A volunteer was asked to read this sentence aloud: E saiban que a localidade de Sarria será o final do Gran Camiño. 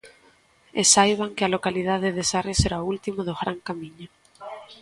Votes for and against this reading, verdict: 1, 2, rejected